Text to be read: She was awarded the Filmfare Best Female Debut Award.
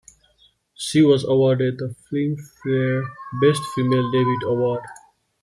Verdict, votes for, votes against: accepted, 2, 1